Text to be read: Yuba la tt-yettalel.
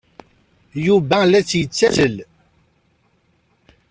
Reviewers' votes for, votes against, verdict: 0, 4, rejected